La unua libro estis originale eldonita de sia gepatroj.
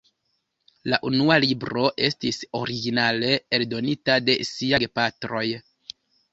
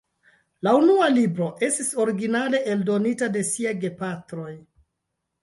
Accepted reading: first